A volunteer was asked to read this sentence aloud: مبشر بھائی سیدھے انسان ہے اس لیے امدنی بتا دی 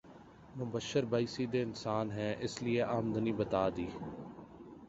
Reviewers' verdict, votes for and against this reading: accepted, 2, 0